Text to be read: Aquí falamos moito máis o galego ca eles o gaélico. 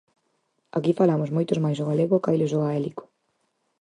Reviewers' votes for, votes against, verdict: 0, 4, rejected